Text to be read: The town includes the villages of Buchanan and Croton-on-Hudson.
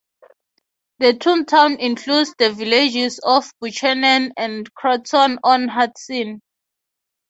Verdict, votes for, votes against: rejected, 0, 3